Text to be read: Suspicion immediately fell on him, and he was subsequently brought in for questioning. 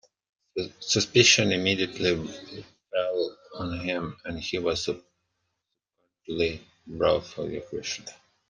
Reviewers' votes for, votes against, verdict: 0, 2, rejected